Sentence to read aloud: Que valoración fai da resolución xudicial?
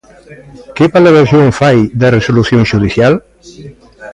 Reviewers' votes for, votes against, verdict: 2, 1, accepted